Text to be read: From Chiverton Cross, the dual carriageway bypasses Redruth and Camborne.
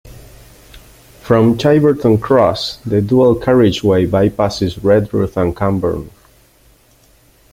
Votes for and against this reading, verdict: 2, 0, accepted